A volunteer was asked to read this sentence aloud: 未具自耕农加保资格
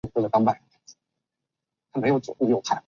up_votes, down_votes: 0, 4